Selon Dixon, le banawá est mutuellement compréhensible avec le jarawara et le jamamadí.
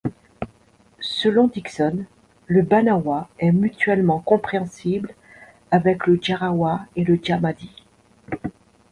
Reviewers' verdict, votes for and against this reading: rejected, 0, 2